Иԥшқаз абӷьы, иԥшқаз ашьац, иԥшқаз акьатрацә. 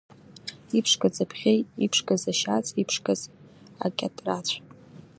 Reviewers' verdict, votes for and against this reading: accepted, 2, 0